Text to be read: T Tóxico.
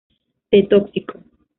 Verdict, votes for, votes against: accepted, 2, 0